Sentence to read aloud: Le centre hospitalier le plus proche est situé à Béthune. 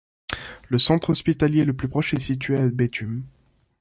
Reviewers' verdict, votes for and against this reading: accepted, 2, 0